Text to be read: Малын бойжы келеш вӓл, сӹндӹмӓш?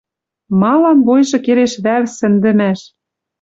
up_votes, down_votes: 1, 2